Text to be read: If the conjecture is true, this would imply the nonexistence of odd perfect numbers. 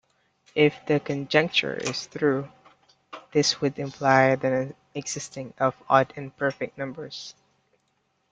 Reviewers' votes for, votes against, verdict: 0, 2, rejected